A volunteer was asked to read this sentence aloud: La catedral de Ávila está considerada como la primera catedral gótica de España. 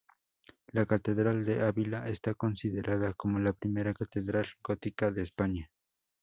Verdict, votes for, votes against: accepted, 2, 0